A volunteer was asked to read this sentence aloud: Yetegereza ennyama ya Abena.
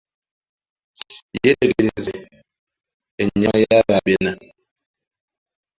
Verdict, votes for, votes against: accepted, 2, 1